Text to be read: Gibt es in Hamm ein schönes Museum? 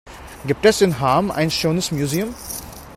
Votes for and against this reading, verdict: 1, 2, rejected